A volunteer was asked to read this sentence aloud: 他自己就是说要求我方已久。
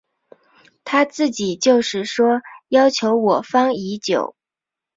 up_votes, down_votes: 3, 0